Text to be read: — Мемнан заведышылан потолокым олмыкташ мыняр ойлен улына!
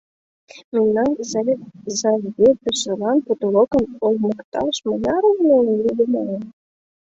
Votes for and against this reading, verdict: 0, 2, rejected